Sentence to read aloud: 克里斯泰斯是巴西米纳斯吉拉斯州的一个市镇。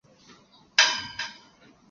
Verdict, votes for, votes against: rejected, 0, 3